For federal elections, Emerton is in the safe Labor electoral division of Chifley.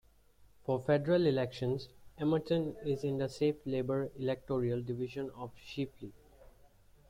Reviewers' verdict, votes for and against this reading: rejected, 0, 2